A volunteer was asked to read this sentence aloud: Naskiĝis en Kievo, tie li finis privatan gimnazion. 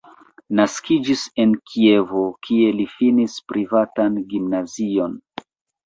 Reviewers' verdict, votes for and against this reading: rejected, 1, 2